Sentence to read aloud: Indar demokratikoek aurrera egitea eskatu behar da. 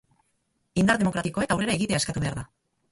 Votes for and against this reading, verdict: 0, 2, rejected